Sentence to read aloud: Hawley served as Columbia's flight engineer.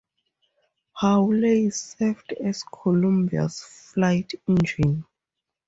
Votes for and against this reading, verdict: 0, 2, rejected